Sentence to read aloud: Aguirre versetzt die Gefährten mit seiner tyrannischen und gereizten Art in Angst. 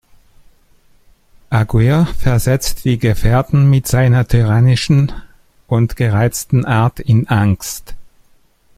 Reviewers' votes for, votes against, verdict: 1, 2, rejected